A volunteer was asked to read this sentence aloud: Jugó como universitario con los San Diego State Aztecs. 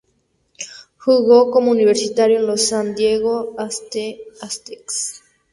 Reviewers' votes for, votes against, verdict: 0, 2, rejected